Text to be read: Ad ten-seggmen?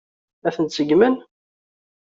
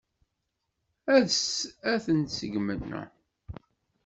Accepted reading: first